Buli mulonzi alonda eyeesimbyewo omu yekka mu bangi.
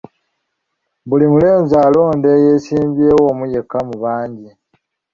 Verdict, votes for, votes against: rejected, 1, 2